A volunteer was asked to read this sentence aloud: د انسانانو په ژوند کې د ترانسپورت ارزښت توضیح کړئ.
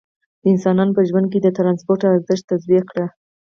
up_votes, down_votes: 0, 4